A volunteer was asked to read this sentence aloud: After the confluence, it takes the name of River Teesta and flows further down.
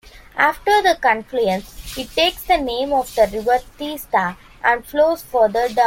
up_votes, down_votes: 0, 2